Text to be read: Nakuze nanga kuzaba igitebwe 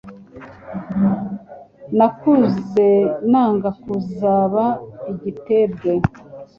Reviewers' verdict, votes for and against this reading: accepted, 2, 0